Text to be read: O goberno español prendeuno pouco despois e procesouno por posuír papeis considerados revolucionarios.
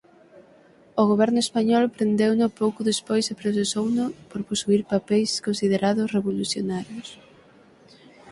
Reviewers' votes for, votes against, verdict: 6, 0, accepted